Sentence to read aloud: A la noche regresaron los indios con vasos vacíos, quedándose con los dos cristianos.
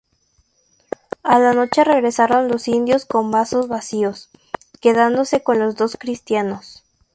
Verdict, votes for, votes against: rejected, 0, 2